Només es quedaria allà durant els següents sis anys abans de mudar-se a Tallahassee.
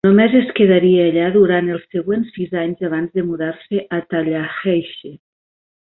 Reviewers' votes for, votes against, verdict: 0, 2, rejected